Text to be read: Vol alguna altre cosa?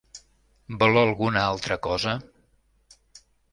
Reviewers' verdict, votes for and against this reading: accepted, 2, 0